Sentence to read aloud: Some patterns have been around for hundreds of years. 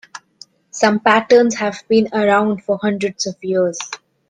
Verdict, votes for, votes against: accepted, 3, 0